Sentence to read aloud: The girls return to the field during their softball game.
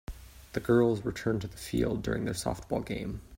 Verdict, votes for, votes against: accepted, 2, 0